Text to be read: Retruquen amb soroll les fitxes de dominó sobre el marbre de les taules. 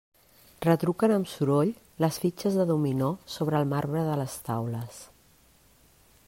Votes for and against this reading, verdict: 3, 0, accepted